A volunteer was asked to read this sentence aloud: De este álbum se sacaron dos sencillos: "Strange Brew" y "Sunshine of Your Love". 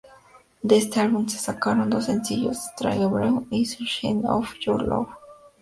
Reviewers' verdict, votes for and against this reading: accepted, 2, 0